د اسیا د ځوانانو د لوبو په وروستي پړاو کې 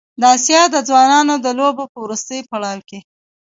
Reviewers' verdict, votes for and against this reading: rejected, 1, 2